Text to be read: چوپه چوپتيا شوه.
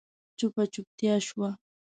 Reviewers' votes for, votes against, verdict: 2, 0, accepted